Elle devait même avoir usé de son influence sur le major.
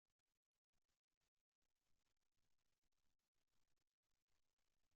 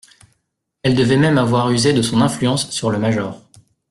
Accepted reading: second